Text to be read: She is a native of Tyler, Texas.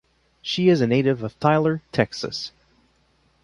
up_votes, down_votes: 2, 0